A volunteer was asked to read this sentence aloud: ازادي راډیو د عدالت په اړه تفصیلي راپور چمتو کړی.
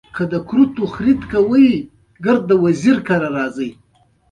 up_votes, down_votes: 2, 0